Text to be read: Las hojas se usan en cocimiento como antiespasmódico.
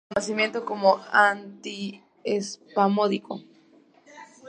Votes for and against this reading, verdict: 0, 2, rejected